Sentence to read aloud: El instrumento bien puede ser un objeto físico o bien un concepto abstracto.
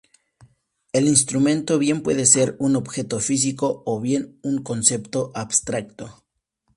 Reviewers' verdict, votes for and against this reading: accepted, 2, 0